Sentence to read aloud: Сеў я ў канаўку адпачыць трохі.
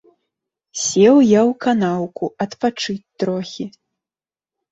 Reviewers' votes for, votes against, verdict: 2, 0, accepted